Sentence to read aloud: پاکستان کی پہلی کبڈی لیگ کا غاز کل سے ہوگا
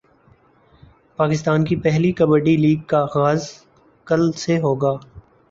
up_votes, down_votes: 1, 2